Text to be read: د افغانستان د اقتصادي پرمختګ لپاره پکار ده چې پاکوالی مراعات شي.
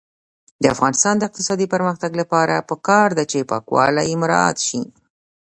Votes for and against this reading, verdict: 1, 2, rejected